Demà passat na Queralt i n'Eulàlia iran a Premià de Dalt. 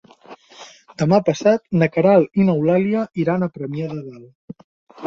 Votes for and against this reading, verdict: 0, 6, rejected